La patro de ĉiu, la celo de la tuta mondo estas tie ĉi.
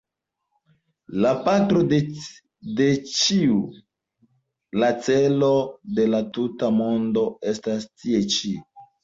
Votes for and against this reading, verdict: 4, 5, rejected